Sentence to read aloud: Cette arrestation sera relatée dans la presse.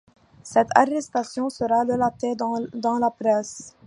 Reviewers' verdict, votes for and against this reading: accepted, 2, 0